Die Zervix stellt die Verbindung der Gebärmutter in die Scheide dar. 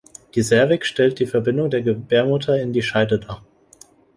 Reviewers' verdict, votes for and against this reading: accepted, 2, 0